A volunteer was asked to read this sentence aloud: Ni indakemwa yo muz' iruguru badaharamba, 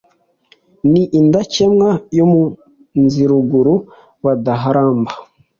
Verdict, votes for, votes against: accepted, 2, 1